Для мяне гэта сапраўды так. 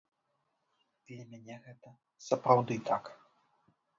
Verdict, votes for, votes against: rejected, 0, 2